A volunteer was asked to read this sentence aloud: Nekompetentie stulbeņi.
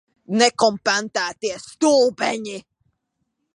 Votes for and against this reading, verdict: 0, 3, rejected